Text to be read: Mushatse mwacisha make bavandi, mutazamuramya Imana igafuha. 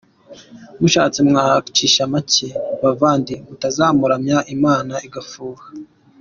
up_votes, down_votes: 2, 0